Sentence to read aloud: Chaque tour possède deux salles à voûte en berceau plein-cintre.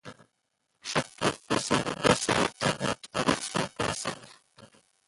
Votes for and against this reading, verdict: 0, 2, rejected